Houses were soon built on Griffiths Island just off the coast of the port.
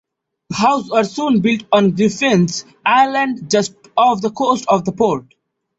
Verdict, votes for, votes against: rejected, 0, 2